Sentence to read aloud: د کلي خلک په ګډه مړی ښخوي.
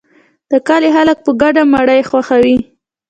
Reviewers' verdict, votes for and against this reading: accepted, 2, 0